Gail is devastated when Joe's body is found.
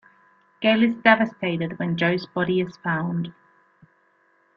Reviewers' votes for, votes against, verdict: 1, 2, rejected